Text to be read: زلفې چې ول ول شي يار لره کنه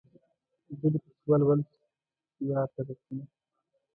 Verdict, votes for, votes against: rejected, 0, 2